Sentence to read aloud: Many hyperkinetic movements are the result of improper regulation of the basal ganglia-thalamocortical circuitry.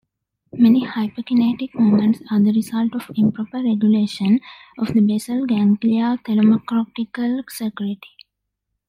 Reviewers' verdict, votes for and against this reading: rejected, 1, 2